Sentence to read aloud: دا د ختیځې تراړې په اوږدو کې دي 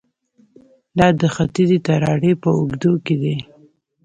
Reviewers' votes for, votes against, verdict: 1, 2, rejected